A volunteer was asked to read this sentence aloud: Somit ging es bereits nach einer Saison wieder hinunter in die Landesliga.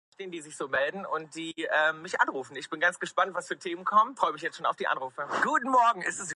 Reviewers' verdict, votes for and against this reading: rejected, 0, 2